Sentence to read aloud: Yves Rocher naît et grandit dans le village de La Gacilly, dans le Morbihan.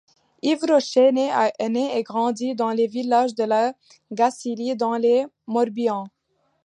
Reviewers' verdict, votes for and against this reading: rejected, 1, 2